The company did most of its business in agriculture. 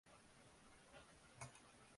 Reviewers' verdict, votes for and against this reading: rejected, 0, 2